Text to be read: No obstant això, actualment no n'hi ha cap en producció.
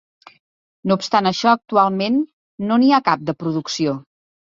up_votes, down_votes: 2, 3